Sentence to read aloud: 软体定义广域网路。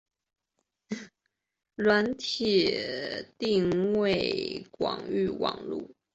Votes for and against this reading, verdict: 1, 3, rejected